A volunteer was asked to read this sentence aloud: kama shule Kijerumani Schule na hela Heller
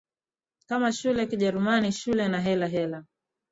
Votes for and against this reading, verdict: 3, 0, accepted